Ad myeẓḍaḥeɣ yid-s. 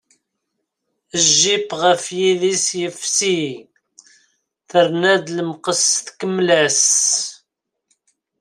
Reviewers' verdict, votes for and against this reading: rejected, 0, 2